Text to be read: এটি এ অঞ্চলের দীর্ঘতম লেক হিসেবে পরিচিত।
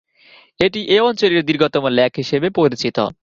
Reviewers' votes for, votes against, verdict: 0, 2, rejected